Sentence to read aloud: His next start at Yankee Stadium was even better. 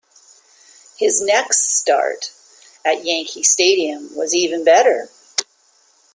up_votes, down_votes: 2, 0